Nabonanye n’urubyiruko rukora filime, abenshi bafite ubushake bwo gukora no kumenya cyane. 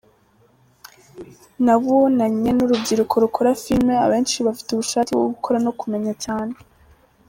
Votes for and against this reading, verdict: 2, 0, accepted